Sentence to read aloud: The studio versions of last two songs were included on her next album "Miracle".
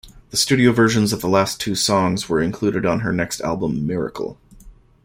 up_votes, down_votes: 2, 1